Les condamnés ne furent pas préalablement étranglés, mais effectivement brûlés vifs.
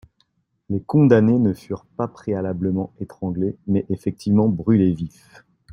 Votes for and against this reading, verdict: 2, 0, accepted